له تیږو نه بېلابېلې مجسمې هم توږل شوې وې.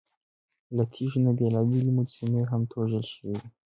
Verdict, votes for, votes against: accepted, 3, 0